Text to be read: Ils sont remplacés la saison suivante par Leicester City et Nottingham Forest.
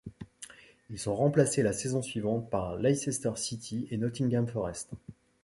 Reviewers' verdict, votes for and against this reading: accepted, 2, 1